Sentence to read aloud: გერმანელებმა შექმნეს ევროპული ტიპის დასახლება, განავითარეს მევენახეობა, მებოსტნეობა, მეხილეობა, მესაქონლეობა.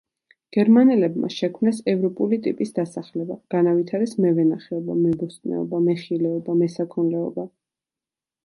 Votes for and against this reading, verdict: 2, 0, accepted